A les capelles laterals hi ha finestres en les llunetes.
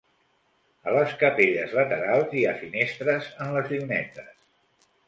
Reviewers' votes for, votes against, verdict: 3, 1, accepted